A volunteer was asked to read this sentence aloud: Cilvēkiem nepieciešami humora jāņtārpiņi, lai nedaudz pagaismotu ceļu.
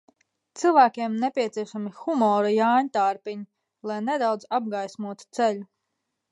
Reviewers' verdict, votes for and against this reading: rejected, 0, 2